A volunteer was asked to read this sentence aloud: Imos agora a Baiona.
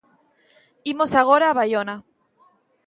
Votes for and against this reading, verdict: 2, 0, accepted